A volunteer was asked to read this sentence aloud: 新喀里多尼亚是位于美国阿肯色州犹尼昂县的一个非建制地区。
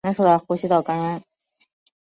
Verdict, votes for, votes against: rejected, 1, 2